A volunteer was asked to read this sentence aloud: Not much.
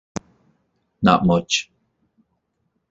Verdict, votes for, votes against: accepted, 2, 0